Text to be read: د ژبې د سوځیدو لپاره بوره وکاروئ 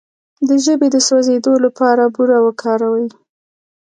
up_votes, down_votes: 2, 0